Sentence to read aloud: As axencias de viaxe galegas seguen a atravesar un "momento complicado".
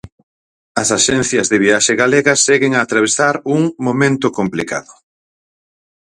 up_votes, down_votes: 4, 0